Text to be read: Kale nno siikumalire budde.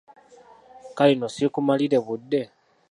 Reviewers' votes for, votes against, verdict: 2, 0, accepted